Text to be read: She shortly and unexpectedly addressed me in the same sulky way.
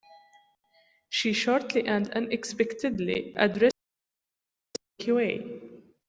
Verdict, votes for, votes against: rejected, 1, 2